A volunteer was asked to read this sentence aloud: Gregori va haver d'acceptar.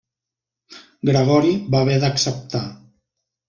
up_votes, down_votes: 2, 0